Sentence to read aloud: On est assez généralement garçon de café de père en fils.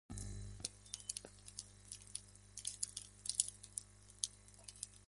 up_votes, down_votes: 0, 2